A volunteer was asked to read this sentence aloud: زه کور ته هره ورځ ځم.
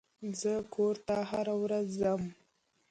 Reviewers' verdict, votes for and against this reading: accepted, 2, 0